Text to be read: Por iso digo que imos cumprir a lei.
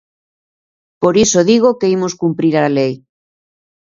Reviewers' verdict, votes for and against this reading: accepted, 2, 0